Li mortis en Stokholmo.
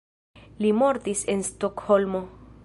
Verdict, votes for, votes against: accepted, 2, 0